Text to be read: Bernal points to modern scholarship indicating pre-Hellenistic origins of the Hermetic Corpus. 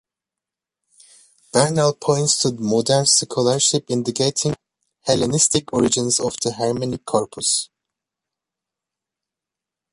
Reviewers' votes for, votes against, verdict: 1, 2, rejected